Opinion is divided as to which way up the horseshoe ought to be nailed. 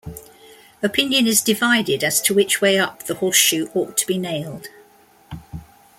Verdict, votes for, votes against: accepted, 2, 0